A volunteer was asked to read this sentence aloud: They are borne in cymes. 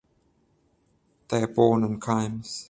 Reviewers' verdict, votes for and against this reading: rejected, 7, 7